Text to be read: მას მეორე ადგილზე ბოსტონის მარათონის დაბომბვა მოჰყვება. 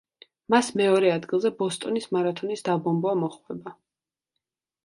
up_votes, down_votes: 2, 0